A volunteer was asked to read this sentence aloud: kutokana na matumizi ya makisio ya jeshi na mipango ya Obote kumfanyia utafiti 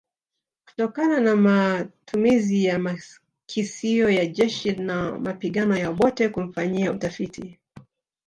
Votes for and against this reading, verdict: 1, 2, rejected